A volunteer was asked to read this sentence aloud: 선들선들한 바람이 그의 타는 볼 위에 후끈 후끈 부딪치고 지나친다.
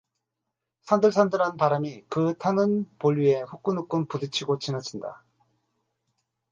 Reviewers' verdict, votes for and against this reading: rejected, 2, 2